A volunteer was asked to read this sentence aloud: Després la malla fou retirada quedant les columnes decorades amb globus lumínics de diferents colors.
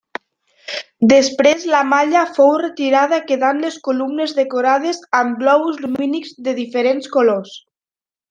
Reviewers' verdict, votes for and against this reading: rejected, 0, 2